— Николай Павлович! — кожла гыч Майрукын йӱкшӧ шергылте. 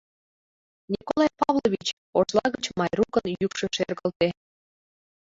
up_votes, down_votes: 0, 2